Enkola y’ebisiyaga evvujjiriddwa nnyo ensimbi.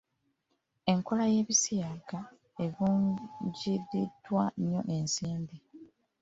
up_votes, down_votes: 0, 2